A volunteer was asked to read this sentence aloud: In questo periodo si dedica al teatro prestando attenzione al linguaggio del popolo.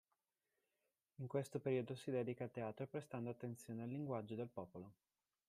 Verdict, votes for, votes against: accepted, 2, 1